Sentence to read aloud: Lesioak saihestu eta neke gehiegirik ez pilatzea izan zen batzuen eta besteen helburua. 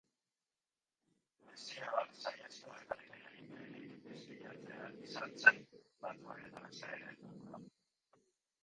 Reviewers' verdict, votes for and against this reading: rejected, 0, 2